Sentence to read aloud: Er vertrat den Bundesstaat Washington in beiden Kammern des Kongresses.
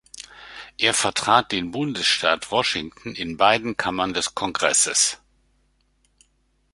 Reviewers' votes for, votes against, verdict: 2, 0, accepted